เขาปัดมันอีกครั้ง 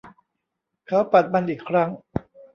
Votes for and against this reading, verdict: 2, 1, accepted